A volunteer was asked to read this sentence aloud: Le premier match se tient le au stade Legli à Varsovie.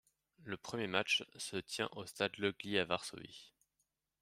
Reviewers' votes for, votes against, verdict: 1, 2, rejected